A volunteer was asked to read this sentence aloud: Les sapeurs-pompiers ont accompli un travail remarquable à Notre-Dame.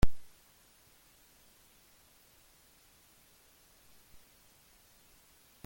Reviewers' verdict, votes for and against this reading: rejected, 0, 2